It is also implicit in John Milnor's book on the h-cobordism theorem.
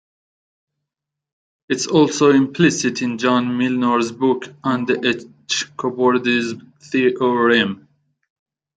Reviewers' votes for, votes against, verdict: 0, 2, rejected